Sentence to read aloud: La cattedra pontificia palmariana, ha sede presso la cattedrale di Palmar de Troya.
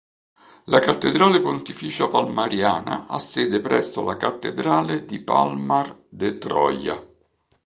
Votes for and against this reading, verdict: 0, 2, rejected